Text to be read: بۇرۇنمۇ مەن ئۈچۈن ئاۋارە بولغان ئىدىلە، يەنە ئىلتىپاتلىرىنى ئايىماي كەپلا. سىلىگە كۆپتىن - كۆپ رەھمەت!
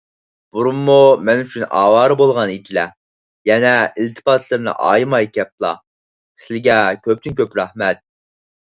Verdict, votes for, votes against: accepted, 4, 0